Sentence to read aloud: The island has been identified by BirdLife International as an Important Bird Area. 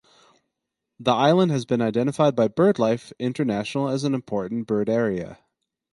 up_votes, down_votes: 4, 0